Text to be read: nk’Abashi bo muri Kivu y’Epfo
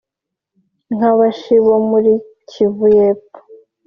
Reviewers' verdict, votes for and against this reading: accepted, 3, 0